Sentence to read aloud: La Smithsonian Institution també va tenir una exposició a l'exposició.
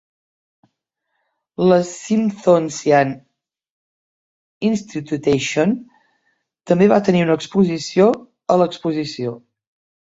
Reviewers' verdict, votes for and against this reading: rejected, 1, 3